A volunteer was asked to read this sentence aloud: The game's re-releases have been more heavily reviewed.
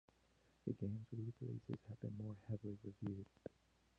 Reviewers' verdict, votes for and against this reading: rejected, 0, 2